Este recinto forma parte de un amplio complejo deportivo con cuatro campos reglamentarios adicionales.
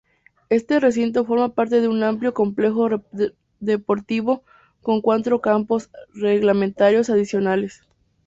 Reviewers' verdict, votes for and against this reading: rejected, 0, 2